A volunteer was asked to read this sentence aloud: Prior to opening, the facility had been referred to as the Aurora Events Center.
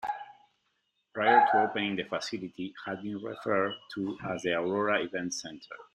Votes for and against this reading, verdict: 1, 2, rejected